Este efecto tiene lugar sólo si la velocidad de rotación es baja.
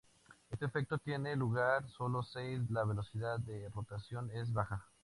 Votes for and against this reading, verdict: 2, 2, rejected